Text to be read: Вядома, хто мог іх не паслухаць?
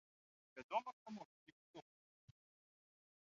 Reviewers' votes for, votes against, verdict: 0, 2, rejected